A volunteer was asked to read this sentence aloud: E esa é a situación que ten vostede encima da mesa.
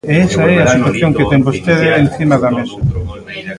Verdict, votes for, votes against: rejected, 0, 2